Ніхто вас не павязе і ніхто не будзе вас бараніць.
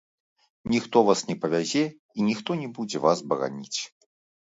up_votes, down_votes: 1, 2